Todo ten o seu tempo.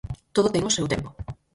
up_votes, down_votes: 0, 4